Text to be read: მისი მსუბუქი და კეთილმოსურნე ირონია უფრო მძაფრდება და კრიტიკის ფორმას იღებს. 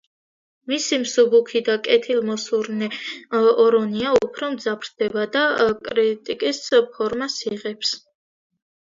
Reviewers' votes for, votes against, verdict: 0, 2, rejected